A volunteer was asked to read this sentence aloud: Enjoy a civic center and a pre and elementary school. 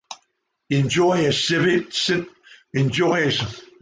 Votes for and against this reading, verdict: 0, 2, rejected